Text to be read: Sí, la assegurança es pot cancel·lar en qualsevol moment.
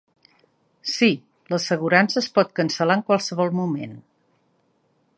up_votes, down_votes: 3, 0